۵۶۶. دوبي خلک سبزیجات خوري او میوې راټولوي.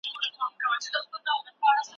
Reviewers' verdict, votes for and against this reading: rejected, 0, 2